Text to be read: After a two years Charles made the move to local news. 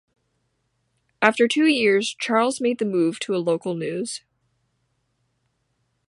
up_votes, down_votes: 1, 2